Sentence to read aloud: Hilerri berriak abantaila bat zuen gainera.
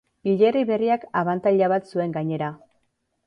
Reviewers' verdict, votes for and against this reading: accepted, 2, 0